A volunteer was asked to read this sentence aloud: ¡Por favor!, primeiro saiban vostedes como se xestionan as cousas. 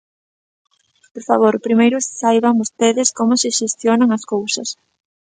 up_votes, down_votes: 3, 0